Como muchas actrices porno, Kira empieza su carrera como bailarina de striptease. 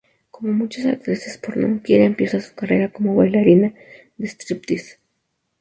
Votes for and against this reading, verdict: 2, 0, accepted